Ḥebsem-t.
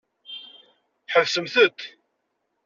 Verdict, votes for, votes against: rejected, 1, 2